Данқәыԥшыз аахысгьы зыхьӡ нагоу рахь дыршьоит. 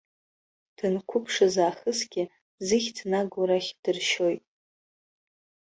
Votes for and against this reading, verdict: 2, 1, accepted